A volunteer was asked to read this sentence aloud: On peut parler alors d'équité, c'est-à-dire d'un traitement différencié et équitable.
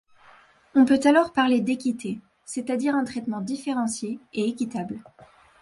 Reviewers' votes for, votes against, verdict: 0, 2, rejected